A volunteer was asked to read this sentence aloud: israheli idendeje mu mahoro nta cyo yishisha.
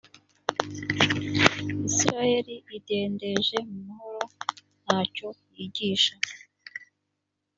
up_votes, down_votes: 1, 2